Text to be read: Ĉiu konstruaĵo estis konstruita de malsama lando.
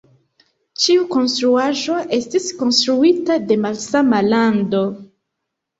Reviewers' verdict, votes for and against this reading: accepted, 2, 0